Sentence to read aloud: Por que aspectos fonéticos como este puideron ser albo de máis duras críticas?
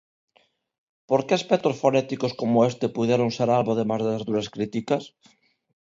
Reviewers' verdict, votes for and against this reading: rejected, 1, 2